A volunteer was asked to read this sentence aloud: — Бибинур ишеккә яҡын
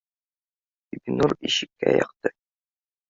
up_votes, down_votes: 1, 3